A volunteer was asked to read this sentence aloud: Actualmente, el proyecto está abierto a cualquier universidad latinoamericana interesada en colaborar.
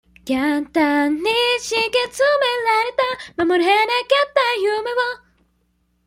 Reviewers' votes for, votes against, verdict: 0, 2, rejected